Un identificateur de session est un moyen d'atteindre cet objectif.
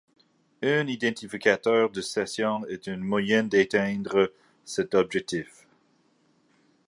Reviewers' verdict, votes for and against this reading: accepted, 2, 1